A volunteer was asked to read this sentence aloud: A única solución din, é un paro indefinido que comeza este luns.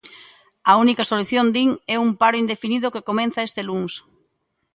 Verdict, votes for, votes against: rejected, 0, 2